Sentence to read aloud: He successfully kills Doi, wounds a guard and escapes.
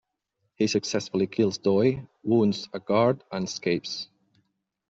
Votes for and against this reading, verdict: 2, 0, accepted